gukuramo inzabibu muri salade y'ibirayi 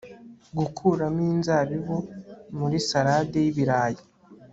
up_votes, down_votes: 1, 2